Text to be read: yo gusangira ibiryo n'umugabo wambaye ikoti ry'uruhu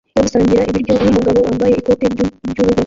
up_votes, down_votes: 0, 2